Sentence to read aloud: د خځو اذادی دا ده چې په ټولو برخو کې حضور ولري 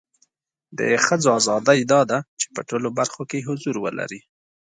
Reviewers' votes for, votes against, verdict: 3, 0, accepted